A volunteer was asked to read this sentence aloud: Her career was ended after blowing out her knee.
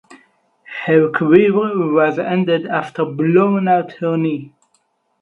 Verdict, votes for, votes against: rejected, 0, 4